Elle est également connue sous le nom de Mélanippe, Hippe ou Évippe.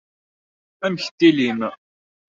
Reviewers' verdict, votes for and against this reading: rejected, 0, 2